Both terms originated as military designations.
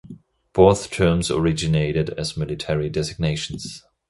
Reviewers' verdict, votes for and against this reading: accepted, 2, 0